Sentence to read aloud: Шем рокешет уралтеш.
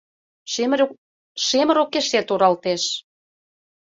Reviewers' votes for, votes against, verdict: 0, 2, rejected